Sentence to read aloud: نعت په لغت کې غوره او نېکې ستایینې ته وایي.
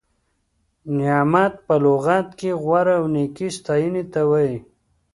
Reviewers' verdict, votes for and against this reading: rejected, 1, 2